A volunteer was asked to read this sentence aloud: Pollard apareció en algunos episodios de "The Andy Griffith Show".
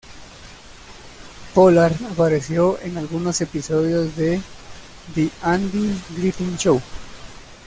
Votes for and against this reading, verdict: 1, 2, rejected